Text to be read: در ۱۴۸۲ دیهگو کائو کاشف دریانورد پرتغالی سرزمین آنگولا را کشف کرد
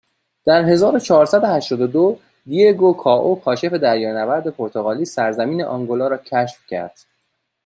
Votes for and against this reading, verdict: 0, 2, rejected